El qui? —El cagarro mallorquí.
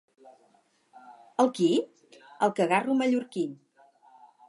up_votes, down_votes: 4, 0